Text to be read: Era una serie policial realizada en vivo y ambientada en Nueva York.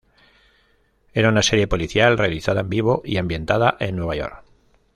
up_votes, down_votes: 0, 2